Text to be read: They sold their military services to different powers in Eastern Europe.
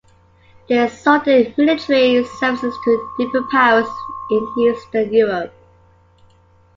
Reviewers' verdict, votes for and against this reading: accepted, 2, 1